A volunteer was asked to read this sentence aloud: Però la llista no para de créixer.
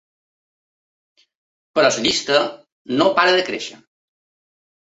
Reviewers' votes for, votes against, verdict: 2, 3, rejected